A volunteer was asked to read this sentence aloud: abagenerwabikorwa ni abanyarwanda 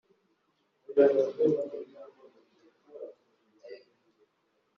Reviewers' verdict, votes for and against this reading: accepted, 4, 3